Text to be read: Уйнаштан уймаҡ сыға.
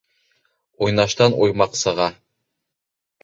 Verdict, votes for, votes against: accepted, 3, 1